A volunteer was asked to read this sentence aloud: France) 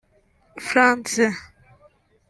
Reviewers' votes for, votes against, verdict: 0, 2, rejected